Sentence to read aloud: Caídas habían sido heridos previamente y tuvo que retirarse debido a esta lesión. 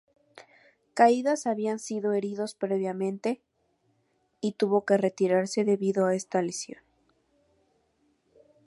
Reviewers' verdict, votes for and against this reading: rejected, 2, 2